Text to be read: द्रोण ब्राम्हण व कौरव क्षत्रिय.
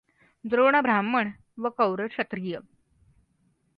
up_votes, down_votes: 2, 0